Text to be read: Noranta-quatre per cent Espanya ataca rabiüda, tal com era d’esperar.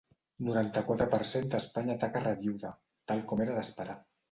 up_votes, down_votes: 0, 2